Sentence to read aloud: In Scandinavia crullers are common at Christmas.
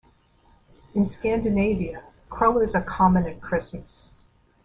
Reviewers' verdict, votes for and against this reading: accepted, 2, 0